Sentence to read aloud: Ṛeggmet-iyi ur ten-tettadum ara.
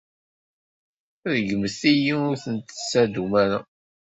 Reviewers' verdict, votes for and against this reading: accepted, 2, 1